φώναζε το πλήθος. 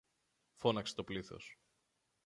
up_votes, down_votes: 0, 2